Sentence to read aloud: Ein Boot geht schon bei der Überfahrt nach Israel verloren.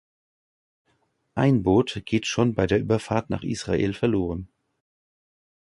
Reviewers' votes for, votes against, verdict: 2, 0, accepted